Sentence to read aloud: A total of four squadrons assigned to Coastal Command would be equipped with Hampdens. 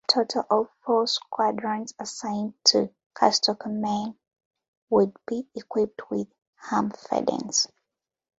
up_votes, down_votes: 0, 2